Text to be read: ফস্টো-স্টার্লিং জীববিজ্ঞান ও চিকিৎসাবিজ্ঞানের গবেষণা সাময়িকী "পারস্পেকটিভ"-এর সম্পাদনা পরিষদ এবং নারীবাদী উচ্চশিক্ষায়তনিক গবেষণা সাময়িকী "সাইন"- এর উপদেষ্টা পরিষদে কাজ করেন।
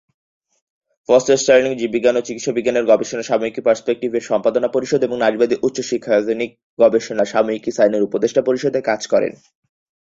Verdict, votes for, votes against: accepted, 4, 0